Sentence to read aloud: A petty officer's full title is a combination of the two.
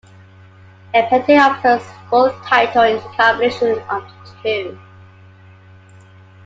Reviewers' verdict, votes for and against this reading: accepted, 2, 0